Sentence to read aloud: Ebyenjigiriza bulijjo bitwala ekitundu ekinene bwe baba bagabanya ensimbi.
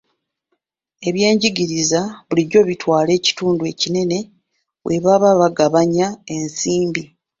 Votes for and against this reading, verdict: 2, 0, accepted